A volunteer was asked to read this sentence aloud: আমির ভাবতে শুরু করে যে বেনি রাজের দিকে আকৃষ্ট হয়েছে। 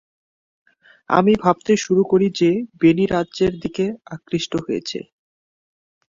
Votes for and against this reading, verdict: 0, 2, rejected